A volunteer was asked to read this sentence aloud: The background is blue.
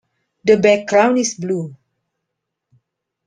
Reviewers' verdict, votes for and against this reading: accepted, 2, 0